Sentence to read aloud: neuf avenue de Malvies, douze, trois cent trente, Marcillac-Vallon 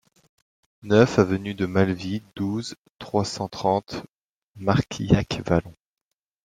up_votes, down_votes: 1, 2